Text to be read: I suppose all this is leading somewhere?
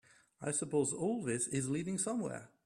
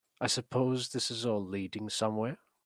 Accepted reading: first